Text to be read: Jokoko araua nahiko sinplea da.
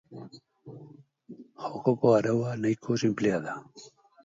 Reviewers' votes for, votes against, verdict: 2, 2, rejected